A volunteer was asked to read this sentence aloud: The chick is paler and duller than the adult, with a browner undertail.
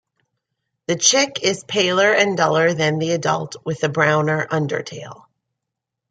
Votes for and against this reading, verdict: 1, 2, rejected